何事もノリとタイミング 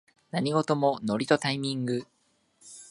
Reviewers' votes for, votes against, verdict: 2, 0, accepted